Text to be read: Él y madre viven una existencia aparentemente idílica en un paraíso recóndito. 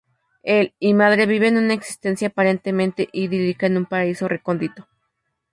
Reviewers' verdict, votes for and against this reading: accepted, 2, 0